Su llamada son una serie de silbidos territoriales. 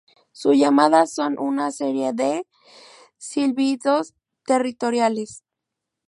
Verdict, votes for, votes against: accepted, 2, 0